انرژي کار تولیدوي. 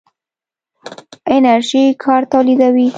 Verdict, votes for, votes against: accepted, 2, 0